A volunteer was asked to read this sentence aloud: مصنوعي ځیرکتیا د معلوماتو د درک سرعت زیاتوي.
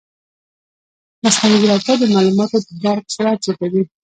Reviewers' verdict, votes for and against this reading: rejected, 0, 2